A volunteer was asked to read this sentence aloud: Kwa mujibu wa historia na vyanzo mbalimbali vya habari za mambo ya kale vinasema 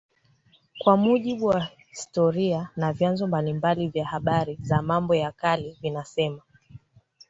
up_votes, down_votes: 0, 2